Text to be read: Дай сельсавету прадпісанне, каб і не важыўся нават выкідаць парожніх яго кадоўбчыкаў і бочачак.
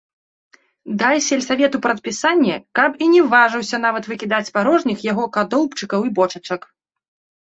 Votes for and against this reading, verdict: 2, 0, accepted